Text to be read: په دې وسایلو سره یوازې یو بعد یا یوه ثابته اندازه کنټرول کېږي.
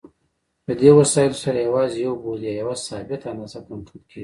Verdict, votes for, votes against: rejected, 0, 2